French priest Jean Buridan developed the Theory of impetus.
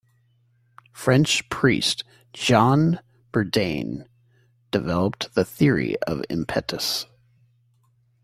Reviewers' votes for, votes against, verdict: 1, 2, rejected